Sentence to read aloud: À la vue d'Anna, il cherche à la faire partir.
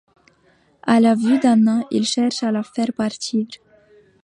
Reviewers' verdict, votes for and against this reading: rejected, 1, 2